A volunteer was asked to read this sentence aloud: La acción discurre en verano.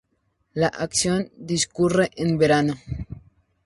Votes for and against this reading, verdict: 2, 0, accepted